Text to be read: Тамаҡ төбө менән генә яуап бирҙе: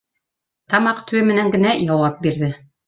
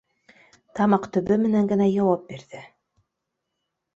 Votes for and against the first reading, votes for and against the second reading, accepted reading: 1, 2, 2, 0, second